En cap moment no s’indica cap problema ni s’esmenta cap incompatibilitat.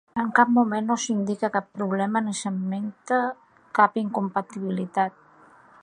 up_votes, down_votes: 2, 1